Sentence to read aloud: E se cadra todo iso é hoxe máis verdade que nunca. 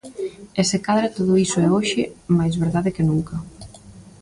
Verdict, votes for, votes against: accepted, 2, 0